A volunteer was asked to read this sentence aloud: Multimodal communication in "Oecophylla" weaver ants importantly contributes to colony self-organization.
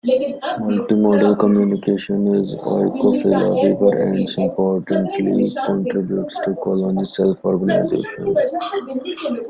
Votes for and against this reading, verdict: 0, 2, rejected